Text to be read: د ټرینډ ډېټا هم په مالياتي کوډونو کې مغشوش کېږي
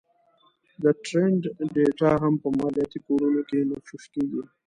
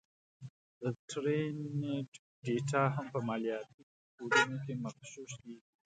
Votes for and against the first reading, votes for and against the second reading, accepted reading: 0, 2, 2, 1, second